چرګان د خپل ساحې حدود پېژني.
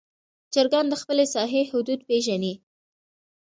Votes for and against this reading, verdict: 2, 0, accepted